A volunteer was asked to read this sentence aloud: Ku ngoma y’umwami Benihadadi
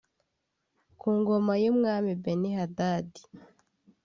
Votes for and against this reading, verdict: 2, 0, accepted